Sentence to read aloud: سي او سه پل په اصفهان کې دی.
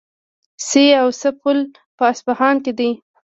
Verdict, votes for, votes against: rejected, 1, 2